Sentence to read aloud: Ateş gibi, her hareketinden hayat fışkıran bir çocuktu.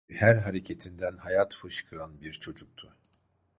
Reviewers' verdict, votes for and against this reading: rejected, 0, 2